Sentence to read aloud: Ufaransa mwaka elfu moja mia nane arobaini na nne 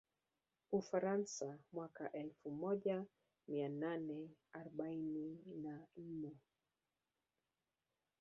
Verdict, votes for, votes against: accepted, 7, 1